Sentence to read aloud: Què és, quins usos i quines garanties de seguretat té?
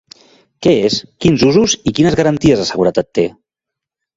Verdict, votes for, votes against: accepted, 2, 0